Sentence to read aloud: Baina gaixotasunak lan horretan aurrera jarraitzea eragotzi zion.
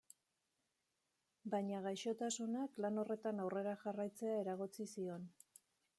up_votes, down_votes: 2, 1